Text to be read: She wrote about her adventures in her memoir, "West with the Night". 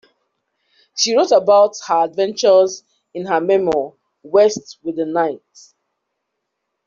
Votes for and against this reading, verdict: 1, 2, rejected